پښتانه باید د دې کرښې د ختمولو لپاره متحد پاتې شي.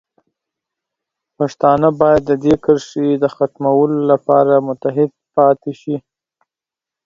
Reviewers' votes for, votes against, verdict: 8, 0, accepted